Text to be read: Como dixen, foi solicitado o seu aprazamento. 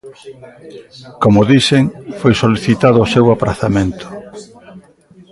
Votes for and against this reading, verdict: 2, 0, accepted